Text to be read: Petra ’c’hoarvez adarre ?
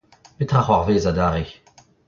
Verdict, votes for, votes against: accepted, 2, 0